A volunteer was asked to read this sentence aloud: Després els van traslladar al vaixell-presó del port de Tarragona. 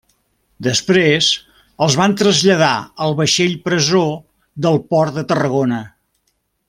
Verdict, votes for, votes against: accepted, 2, 1